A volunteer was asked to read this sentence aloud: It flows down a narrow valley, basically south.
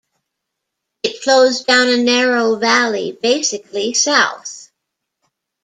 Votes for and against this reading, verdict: 2, 0, accepted